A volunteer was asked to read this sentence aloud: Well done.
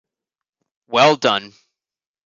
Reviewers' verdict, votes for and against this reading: accepted, 2, 0